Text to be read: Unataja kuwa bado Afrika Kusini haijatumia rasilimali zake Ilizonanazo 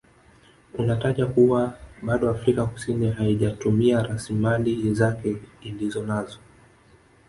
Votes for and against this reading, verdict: 3, 0, accepted